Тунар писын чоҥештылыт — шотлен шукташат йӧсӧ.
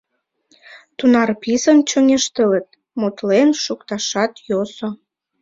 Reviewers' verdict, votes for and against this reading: rejected, 0, 2